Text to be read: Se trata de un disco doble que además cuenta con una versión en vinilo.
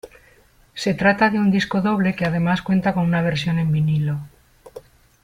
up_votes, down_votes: 3, 0